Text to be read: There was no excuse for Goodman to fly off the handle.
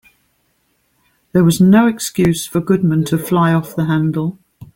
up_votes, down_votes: 3, 1